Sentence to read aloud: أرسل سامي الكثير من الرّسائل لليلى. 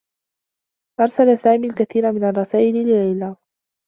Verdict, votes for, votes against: accepted, 2, 1